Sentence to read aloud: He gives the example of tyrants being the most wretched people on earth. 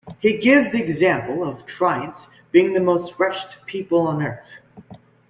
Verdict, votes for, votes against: rejected, 0, 2